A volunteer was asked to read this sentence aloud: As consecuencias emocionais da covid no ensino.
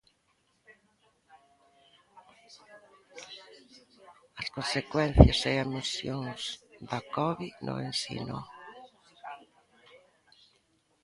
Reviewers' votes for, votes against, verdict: 0, 2, rejected